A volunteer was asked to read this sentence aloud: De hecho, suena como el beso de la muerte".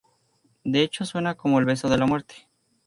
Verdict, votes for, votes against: accepted, 4, 0